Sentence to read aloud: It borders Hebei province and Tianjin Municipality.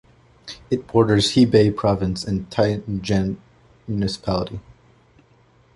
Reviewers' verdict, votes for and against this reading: rejected, 1, 2